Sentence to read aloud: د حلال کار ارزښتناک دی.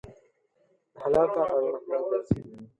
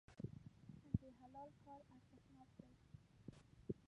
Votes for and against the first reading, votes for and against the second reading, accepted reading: 4, 0, 0, 3, first